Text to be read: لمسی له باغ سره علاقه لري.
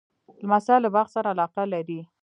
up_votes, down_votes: 1, 2